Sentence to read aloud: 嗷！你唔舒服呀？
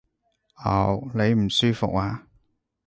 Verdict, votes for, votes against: accepted, 2, 0